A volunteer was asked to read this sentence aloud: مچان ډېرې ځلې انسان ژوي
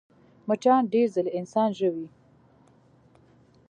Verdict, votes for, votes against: accepted, 2, 0